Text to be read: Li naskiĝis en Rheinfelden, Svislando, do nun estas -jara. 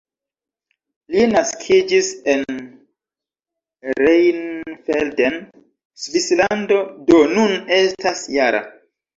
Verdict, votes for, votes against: rejected, 0, 2